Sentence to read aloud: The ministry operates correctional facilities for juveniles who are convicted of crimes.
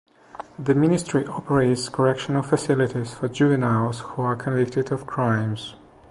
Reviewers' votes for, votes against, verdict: 2, 0, accepted